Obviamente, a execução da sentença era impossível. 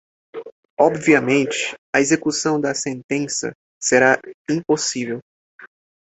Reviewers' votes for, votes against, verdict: 0, 2, rejected